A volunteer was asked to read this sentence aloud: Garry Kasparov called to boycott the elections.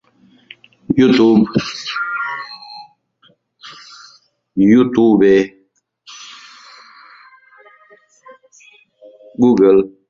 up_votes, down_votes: 0, 2